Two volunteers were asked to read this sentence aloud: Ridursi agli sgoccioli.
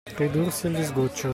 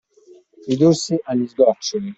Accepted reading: second